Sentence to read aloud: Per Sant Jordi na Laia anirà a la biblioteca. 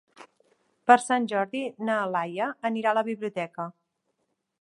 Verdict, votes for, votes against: accepted, 3, 0